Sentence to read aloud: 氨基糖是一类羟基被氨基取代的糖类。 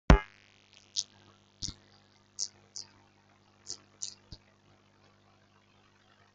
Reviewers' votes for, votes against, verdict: 0, 2, rejected